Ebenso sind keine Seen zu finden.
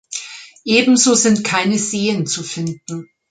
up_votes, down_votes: 3, 0